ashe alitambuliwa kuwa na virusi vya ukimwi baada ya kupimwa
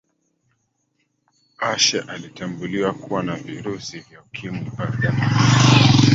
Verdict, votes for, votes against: rejected, 0, 3